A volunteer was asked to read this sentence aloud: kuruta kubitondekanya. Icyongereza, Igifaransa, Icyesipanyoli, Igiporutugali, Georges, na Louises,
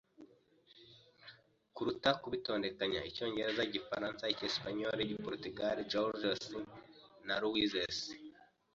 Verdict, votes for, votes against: accepted, 2, 1